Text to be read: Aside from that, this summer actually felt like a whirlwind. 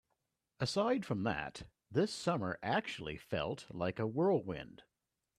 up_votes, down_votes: 2, 0